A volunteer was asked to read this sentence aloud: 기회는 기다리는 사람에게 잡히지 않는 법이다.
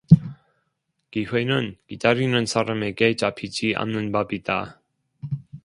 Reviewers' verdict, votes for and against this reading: accepted, 2, 1